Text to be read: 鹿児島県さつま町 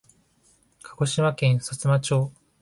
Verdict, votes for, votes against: accepted, 4, 0